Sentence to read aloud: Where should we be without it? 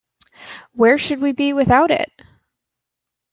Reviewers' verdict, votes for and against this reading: accepted, 2, 0